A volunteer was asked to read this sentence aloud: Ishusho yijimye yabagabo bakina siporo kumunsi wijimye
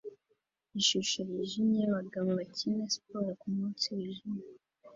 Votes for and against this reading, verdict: 2, 1, accepted